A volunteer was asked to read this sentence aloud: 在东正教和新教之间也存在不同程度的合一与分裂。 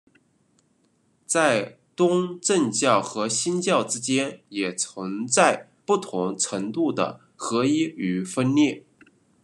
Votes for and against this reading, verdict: 2, 1, accepted